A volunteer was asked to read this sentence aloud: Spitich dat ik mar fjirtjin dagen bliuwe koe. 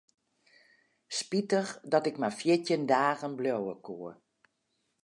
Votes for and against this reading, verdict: 4, 0, accepted